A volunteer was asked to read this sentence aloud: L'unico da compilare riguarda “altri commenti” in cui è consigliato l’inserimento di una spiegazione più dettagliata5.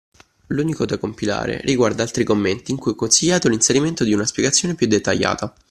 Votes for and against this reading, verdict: 0, 2, rejected